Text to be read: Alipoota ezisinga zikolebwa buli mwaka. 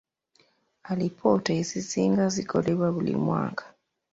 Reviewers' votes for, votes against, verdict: 1, 2, rejected